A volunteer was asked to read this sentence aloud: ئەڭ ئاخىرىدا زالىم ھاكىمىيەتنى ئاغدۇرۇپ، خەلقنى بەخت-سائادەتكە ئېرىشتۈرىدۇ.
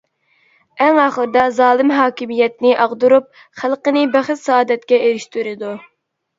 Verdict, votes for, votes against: rejected, 0, 2